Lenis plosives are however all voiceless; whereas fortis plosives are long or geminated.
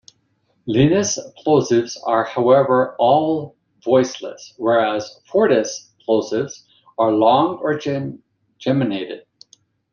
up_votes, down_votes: 0, 2